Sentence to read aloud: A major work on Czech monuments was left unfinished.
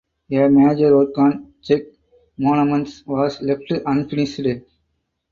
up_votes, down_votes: 4, 0